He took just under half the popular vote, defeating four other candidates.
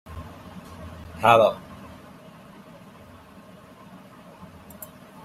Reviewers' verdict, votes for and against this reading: rejected, 0, 2